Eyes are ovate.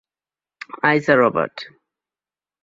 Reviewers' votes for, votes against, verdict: 3, 0, accepted